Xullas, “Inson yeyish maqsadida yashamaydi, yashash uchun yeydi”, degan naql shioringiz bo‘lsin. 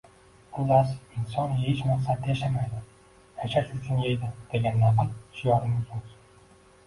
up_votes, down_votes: 1, 2